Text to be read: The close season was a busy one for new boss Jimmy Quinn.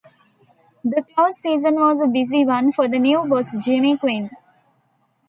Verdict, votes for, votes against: rejected, 0, 2